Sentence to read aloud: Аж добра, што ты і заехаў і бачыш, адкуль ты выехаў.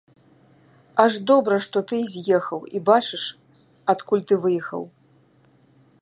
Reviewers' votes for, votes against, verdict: 0, 2, rejected